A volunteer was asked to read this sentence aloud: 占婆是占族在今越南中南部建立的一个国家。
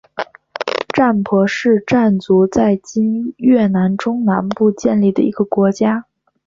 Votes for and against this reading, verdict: 2, 0, accepted